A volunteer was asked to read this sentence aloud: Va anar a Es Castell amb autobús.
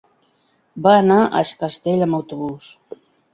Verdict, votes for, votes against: accepted, 3, 0